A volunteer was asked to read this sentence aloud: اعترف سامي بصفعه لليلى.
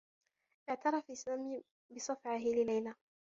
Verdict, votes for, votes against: rejected, 1, 2